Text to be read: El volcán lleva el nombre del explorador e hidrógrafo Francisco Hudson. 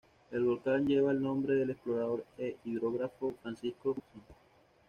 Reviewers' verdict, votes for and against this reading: rejected, 1, 2